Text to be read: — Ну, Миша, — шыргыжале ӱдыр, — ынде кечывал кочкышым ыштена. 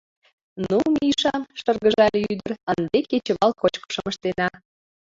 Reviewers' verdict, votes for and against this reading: rejected, 1, 2